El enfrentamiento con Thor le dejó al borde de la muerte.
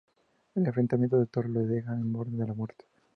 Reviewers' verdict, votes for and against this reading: rejected, 0, 2